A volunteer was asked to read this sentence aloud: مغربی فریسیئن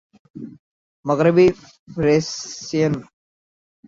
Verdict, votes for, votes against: rejected, 0, 2